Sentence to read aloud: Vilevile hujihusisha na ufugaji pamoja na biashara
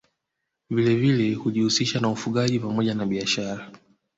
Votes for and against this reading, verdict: 1, 2, rejected